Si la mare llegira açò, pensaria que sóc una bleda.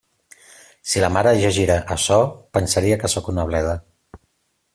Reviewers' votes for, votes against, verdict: 2, 0, accepted